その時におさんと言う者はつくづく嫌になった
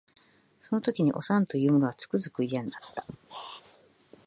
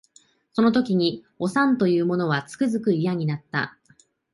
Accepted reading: second